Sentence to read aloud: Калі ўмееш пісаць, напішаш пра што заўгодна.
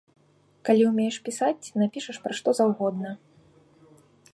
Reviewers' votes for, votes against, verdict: 2, 0, accepted